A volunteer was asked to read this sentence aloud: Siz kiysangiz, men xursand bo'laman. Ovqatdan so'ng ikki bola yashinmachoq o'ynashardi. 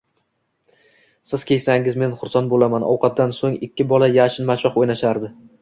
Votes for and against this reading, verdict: 2, 0, accepted